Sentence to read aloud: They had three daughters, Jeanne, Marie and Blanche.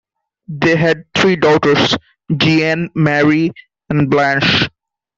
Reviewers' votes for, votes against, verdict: 1, 2, rejected